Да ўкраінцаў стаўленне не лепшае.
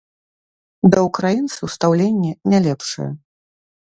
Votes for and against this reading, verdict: 2, 1, accepted